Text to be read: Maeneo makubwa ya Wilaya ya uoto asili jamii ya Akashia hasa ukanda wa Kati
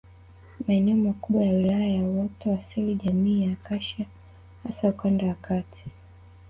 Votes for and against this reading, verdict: 0, 2, rejected